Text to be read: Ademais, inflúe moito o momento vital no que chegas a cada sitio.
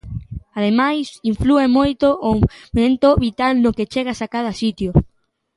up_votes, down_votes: 0, 2